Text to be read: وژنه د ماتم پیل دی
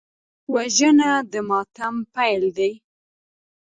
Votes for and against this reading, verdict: 2, 1, accepted